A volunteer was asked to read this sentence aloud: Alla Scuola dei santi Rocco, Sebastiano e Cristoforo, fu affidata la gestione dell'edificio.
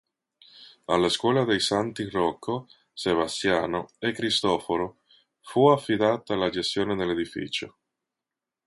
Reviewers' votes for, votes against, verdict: 2, 0, accepted